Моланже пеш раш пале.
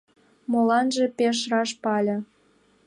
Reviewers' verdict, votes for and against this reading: rejected, 0, 2